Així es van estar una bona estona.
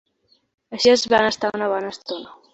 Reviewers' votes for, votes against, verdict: 3, 0, accepted